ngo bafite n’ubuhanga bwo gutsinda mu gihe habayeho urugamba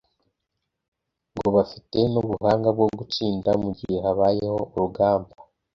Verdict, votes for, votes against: accepted, 2, 0